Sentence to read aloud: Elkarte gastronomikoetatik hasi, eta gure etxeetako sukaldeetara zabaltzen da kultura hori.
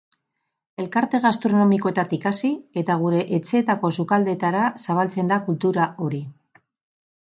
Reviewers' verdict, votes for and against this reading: accepted, 2, 0